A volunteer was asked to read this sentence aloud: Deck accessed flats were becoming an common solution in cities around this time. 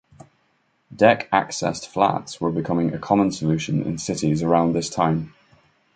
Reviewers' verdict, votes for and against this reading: rejected, 0, 2